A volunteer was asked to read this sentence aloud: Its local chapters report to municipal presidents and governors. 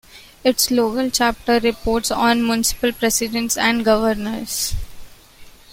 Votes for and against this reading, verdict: 0, 2, rejected